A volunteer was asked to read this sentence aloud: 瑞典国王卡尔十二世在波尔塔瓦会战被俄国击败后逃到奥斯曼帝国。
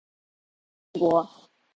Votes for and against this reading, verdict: 0, 6, rejected